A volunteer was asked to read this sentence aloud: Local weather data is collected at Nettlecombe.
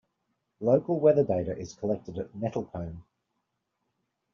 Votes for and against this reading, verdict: 3, 0, accepted